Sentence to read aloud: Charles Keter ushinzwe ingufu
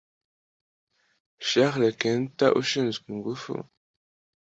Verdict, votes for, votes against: accepted, 2, 0